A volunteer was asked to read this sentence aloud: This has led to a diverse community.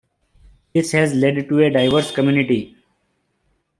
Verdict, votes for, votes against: rejected, 0, 2